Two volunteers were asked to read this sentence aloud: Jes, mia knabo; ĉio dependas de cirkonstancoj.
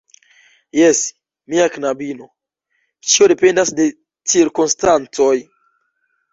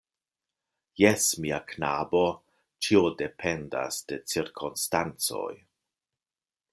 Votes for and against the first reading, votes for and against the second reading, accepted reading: 0, 2, 2, 0, second